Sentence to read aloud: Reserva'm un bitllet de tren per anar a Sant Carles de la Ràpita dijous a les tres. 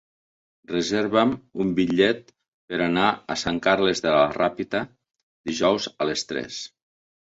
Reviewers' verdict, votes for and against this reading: rejected, 0, 5